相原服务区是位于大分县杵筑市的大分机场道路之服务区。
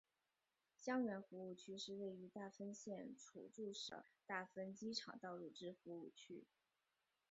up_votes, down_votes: 2, 2